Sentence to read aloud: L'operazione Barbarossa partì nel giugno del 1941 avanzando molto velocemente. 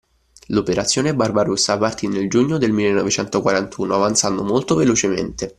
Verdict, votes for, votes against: rejected, 0, 2